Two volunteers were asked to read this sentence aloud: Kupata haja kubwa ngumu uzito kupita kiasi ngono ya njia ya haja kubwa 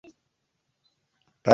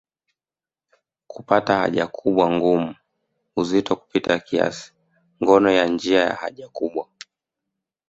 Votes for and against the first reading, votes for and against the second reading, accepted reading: 0, 2, 2, 1, second